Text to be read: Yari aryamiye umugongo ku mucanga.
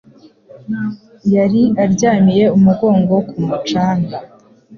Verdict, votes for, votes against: accepted, 2, 0